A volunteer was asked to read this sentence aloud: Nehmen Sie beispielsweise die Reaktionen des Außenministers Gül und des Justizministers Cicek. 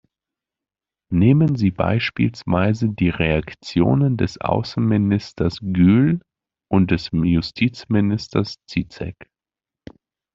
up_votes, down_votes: 1, 2